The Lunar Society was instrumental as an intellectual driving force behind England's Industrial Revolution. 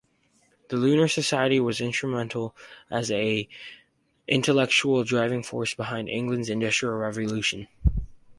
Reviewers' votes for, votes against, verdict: 2, 0, accepted